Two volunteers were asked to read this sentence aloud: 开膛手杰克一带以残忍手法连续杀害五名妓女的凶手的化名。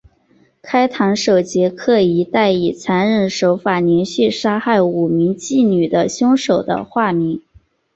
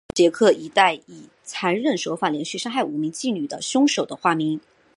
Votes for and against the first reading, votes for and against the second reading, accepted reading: 4, 0, 0, 3, first